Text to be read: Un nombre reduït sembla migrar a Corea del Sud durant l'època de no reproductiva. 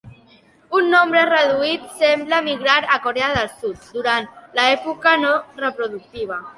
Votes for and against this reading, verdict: 2, 1, accepted